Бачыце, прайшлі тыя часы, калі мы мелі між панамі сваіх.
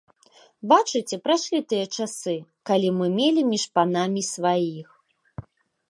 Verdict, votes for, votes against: accepted, 2, 1